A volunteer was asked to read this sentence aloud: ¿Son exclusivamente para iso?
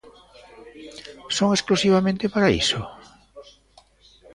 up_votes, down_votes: 0, 2